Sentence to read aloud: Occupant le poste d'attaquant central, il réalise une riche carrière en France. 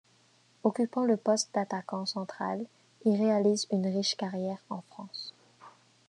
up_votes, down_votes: 2, 0